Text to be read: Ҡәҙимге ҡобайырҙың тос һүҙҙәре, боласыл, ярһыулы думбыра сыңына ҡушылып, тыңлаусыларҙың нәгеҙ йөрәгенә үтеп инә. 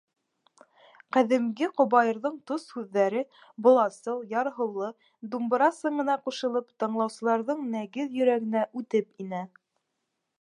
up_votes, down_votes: 2, 0